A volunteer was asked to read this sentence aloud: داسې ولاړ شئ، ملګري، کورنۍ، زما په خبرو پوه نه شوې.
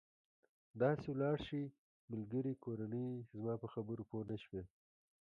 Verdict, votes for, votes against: accepted, 2, 1